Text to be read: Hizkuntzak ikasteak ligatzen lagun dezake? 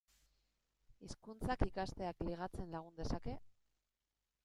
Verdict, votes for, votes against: rejected, 0, 2